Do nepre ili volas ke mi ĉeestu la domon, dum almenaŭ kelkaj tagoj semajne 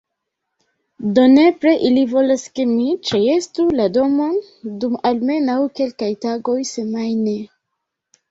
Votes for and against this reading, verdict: 1, 2, rejected